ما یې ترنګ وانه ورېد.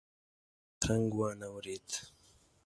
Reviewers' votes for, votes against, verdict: 0, 2, rejected